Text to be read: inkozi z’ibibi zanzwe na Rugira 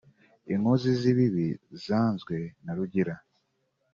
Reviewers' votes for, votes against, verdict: 5, 1, accepted